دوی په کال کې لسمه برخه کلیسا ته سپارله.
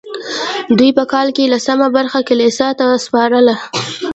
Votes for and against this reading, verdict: 1, 2, rejected